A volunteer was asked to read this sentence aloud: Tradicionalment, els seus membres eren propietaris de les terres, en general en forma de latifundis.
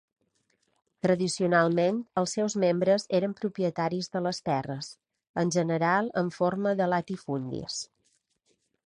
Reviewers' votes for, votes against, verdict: 3, 0, accepted